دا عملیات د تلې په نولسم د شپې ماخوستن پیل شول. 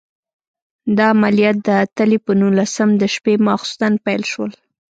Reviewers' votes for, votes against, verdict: 2, 0, accepted